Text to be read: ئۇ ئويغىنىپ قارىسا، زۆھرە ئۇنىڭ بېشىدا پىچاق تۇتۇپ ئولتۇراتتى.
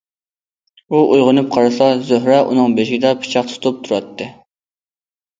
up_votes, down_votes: 1, 2